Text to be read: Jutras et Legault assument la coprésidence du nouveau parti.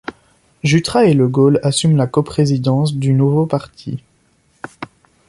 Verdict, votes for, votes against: accepted, 2, 0